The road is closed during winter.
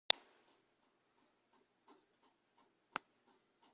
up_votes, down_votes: 0, 2